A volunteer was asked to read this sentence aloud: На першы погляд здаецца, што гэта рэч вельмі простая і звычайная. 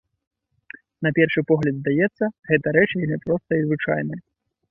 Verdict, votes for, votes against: rejected, 0, 2